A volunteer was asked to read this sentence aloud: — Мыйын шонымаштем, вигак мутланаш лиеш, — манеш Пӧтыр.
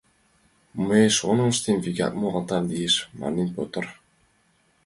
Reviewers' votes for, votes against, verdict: 1, 2, rejected